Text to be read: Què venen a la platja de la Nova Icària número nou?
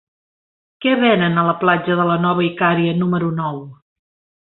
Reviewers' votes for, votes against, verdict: 3, 0, accepted